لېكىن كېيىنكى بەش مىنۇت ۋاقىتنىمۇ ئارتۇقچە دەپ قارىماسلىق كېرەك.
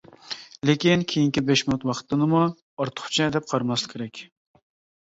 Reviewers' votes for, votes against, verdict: 1, 2, rejected